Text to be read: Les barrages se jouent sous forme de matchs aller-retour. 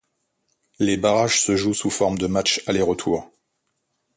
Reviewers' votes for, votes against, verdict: 2, 0, accepted